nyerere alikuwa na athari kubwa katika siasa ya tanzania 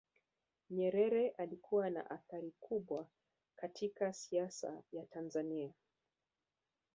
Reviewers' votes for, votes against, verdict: 1, 2, rejected